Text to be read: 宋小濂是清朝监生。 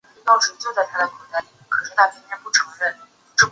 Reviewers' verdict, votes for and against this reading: rejected, 0, 4